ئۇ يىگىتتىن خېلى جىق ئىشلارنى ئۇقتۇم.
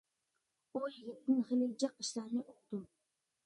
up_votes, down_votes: 0, 2